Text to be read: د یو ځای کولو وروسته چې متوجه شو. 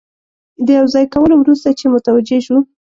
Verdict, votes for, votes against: accepted, 2, 0